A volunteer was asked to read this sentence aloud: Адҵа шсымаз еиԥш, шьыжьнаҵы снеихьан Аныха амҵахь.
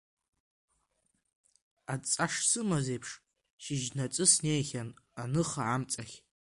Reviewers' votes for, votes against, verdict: 2, 1, accepted